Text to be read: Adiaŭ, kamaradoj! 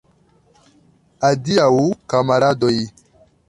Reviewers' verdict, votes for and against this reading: accepted, 2, 1